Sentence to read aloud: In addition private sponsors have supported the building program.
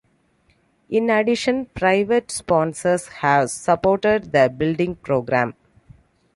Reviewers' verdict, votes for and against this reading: accepted, 2, 0